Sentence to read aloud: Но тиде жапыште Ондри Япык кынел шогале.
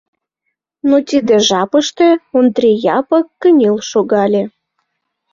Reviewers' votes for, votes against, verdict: 2, 0, accepted